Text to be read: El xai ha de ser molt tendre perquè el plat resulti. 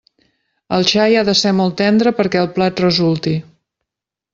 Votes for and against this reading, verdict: 3, 1, accepted